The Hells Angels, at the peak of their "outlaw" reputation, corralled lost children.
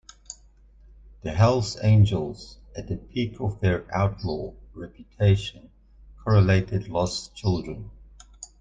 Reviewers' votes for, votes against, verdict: 0, 2, rejected